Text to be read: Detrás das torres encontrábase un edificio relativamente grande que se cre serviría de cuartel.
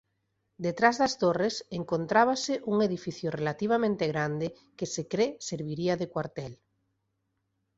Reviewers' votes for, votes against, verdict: 2, 0, accepted